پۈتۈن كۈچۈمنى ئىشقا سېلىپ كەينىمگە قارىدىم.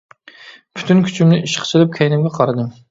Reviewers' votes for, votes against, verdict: 2, 0, accepted